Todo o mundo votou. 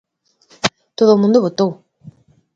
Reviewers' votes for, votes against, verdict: 2, 1, accepted